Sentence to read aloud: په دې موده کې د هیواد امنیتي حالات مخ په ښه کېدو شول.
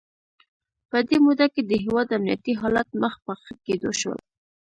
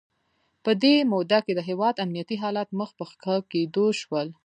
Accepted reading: second